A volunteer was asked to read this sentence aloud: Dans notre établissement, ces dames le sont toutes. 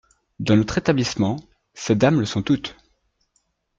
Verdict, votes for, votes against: accepted, 2, 0